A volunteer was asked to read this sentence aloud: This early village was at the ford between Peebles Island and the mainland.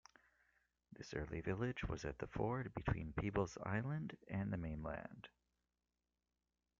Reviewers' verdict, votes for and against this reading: accepted, 2, 0